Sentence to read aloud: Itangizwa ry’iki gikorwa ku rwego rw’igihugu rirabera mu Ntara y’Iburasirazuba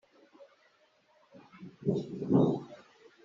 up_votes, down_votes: 0, 2